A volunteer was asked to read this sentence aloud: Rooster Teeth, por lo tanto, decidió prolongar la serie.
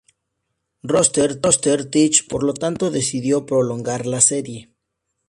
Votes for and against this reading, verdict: 0, 4, rejected